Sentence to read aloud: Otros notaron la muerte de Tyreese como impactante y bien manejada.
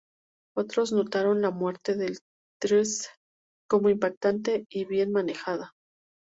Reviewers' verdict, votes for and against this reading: rejected, 0, 2